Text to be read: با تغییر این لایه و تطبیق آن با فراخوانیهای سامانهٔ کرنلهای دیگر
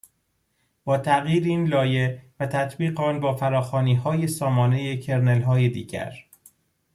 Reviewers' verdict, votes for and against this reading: accepted, 2, 0